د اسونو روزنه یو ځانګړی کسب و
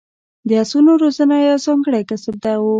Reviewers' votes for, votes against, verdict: 0, 2, rejected